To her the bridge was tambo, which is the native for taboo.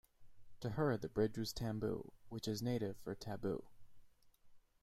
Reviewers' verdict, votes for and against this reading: accepted, 2, 0